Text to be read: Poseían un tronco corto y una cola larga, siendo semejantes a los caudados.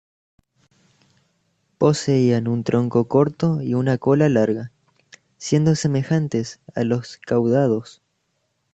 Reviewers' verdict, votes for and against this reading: accepted, 2, 0